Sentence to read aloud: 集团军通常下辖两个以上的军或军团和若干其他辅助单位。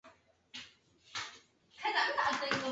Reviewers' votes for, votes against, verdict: 0, 2, rejected